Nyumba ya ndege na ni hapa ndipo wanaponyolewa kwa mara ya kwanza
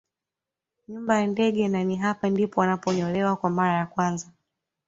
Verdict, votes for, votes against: accepted, 2, 0